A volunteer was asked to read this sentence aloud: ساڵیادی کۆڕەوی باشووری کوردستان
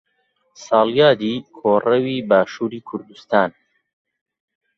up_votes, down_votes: 2, 0